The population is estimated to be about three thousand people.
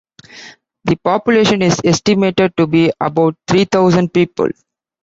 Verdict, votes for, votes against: accepted, 2, 0